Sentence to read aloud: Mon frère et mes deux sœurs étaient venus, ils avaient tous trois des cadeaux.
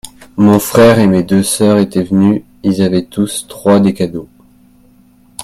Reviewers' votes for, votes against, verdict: 2, 0, accepted